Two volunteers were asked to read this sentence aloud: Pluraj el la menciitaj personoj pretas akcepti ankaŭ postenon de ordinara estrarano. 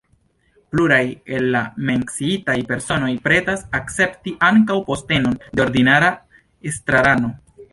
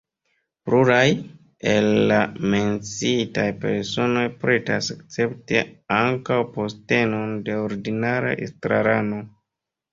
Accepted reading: first